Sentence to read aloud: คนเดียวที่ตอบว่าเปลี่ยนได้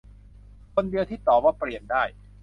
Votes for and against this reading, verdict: 2, 0, accepted